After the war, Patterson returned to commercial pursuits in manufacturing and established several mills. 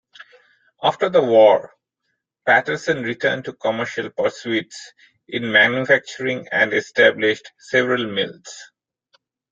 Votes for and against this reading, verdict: 2, 1, accepted